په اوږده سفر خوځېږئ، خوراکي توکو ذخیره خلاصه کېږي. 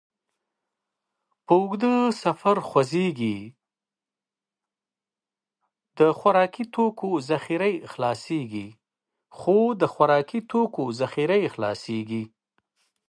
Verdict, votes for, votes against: rejected, 0, 2